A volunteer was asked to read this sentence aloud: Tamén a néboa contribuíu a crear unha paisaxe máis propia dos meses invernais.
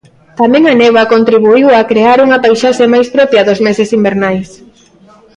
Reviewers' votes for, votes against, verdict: 2, 0, accepted